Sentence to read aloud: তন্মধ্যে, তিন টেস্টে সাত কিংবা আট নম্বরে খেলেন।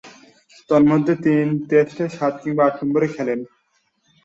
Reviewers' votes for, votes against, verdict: 4, 3, accepted